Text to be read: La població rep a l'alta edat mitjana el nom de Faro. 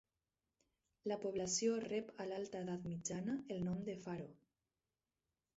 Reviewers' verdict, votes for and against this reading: rejected, 2, 2